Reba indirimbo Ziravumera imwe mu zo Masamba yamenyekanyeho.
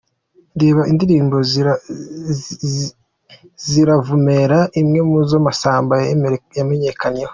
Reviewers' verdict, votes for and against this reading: rejected, 0, 2